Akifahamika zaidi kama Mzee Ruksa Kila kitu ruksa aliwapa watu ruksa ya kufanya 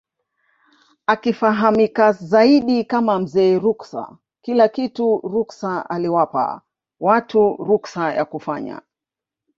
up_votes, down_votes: 2, 0